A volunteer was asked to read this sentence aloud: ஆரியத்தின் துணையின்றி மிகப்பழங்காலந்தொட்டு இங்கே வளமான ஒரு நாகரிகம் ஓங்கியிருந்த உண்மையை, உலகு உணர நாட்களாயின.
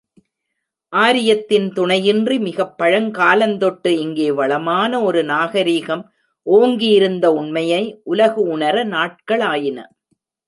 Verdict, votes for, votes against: accepted, 2, 0